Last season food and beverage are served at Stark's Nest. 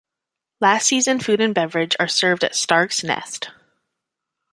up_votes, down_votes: 2, 0